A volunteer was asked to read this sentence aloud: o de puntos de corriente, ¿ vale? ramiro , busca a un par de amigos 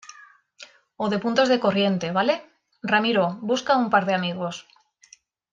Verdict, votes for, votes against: accepted, 2, 0